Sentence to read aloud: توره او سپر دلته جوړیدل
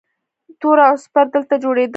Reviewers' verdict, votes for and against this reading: rejected, 0, 2